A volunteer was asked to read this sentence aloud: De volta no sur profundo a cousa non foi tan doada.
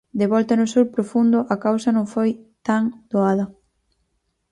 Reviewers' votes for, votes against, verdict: 2, 2, rejected